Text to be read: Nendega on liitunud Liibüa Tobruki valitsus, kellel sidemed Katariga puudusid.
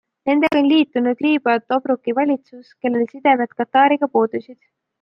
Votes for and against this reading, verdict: 2, 0, accepted